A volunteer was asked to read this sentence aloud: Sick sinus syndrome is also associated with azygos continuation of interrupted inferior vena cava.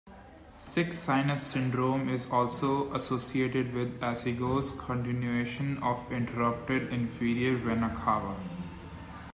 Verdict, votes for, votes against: accepted, 2, 0